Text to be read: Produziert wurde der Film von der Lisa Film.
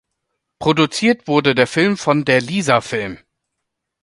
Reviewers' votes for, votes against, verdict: 2, 0, accepted